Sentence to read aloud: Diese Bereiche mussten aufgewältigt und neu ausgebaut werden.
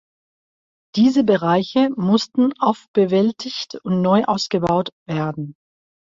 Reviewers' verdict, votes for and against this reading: rejected, 0, 2